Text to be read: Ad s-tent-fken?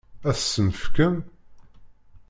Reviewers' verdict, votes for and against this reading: rejected, 0, 2